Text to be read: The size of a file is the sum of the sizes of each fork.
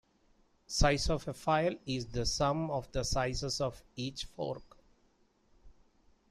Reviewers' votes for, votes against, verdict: 2, 1, accepted